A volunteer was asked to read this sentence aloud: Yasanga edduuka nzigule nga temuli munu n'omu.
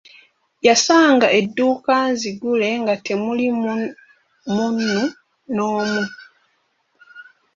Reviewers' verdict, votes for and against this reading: rejected, 2, 4